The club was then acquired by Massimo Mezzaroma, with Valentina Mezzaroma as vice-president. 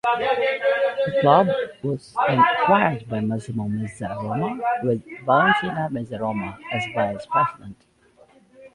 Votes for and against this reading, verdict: 0, 2, rejected